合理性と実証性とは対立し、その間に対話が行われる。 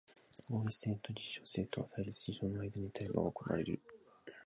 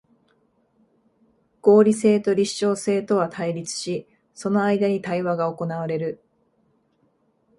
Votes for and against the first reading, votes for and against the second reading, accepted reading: 2, 2, 2, 1, second